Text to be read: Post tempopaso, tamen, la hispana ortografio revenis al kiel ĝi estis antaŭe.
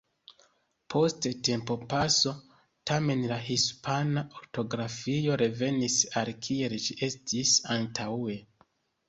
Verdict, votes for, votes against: accepted, 2, 1